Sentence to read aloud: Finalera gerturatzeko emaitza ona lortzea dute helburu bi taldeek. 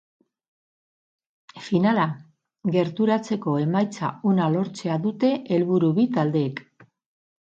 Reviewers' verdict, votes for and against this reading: rejected, 0, 6